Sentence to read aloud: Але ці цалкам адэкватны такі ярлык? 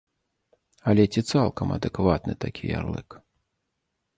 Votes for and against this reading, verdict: 2, 0, accepted